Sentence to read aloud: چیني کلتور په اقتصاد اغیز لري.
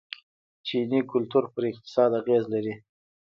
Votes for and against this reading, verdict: 0, 2, rejected